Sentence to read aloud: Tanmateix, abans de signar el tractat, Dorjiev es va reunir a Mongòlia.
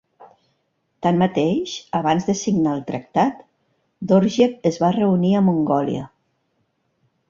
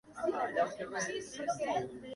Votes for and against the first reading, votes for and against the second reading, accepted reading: 3, 0, 1, 2, first